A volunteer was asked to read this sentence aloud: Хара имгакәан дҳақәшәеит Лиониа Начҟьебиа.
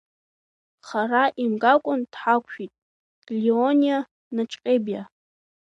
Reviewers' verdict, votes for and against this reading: rejected, 1, 2